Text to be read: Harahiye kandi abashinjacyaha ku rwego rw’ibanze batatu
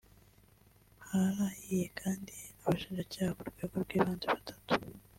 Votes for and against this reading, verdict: 1, 2, rejected